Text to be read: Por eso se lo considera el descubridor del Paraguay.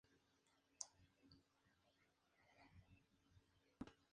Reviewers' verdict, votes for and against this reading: rejected, 0, 4